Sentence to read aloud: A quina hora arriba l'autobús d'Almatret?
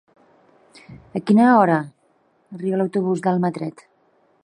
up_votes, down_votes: 0, 2